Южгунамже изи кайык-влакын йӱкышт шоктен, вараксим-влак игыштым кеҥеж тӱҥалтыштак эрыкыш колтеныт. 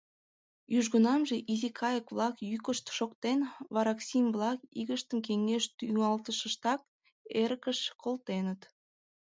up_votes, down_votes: 1, 2